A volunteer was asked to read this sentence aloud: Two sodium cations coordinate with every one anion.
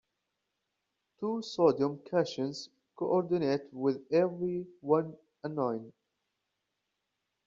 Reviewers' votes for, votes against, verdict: 2, 1, accepted